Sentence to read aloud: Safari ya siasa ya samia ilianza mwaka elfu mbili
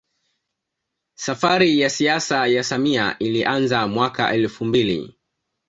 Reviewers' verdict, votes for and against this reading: accepted, 2, 0